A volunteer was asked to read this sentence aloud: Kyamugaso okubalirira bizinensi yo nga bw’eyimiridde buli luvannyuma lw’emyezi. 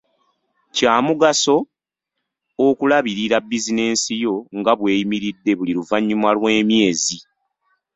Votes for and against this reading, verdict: 1, 2, rejected